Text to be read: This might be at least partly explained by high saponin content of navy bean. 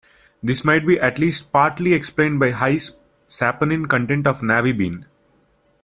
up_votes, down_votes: 2, 0